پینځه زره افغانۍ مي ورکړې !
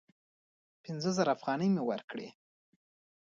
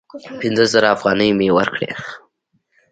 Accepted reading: second